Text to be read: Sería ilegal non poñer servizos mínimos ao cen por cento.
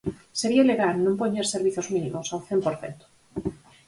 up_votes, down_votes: 4, 0